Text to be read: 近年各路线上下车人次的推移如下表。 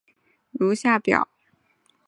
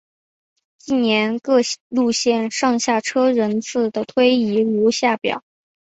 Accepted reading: second